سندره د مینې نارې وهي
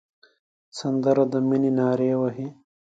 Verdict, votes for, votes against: accepted, 2, 0